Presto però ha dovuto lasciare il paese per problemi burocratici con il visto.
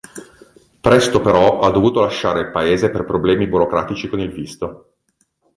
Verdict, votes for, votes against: accepted, 2, 0